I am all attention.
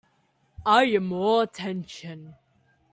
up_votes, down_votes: 0, 2